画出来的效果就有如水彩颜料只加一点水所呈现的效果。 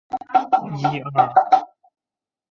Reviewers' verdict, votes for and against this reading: rejected, 0, 5